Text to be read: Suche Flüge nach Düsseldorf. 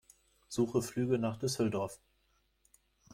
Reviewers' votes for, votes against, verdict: 2, 0, accepted